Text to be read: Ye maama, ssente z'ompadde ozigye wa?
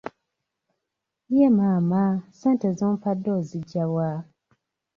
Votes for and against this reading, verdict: 0, 2, rejected